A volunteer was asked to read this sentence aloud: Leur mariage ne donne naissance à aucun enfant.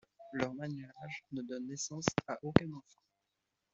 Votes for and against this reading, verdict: 2, 0, accepted